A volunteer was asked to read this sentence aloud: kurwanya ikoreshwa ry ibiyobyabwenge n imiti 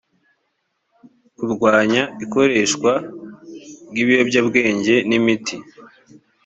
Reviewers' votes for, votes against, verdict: 3, 0, accepted